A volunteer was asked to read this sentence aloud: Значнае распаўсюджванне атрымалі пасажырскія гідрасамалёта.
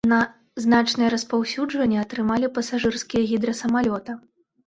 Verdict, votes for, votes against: rejected, 1, 3